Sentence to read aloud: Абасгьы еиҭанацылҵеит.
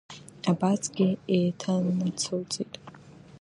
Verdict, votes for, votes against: rejected, 1, 2